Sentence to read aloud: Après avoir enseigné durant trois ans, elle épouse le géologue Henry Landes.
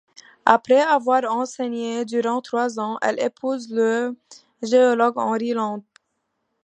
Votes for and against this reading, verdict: 2, 0, accepted